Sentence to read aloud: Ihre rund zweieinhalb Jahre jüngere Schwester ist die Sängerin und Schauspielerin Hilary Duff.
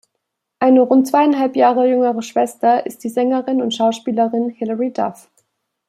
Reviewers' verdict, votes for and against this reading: rejected, 0, 2